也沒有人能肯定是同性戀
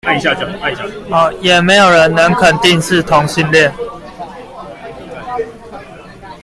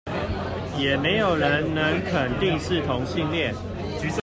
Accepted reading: second